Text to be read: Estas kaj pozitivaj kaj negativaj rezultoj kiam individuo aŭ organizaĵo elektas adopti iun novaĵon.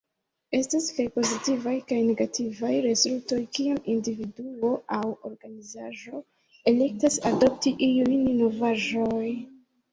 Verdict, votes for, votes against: rejected, 1, 2